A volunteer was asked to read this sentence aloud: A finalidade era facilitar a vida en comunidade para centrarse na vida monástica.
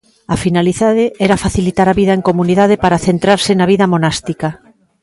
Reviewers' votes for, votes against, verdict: 0, 3, rejected